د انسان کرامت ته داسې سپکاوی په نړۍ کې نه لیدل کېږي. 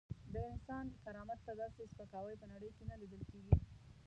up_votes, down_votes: 1, 2